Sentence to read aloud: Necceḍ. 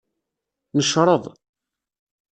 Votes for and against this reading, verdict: 0, 2, rejected